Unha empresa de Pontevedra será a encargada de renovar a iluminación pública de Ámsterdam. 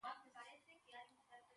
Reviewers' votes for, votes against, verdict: 0, 2, rejected